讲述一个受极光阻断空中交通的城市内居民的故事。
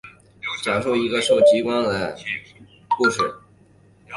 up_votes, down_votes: 1, 2